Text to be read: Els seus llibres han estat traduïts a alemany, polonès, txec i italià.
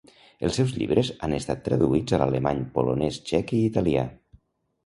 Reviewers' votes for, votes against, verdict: 0, 2, rejected